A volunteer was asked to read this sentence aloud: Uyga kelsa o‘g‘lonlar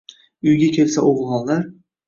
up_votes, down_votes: 2, 0